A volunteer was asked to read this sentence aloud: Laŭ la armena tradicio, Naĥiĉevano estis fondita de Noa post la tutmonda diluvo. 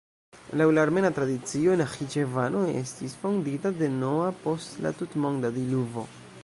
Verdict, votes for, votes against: accepted, 2, 0